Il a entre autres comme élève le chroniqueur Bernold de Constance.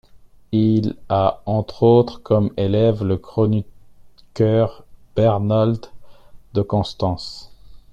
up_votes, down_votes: 2, 0